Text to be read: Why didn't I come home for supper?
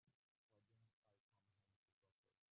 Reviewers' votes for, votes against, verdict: 0, 2, rejected